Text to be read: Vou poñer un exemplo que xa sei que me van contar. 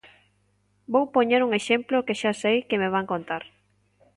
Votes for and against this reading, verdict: 2, 0, accepted